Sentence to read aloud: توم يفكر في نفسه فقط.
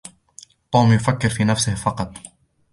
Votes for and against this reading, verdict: 2, 1, accepted